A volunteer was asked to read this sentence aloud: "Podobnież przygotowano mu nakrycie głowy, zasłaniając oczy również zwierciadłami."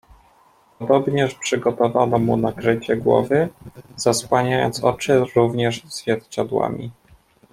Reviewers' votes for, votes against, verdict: 2, 0, accepted